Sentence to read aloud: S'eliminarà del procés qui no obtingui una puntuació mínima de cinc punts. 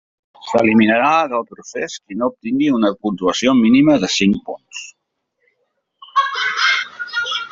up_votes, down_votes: 0, 2